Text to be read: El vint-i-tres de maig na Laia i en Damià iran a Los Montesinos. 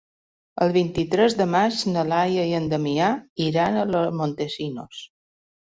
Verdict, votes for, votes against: rejected, 1, 2